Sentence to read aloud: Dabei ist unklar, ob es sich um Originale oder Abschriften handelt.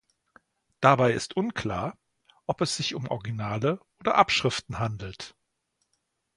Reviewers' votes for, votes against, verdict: 2, 0, accepted